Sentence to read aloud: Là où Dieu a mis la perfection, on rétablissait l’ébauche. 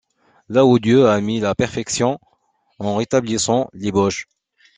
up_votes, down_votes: 0, 2